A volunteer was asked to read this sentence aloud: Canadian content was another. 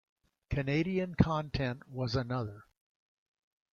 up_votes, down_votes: 2, 0